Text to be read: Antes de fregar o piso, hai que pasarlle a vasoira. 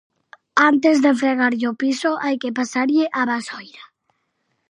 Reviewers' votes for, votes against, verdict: 0, 4, rejected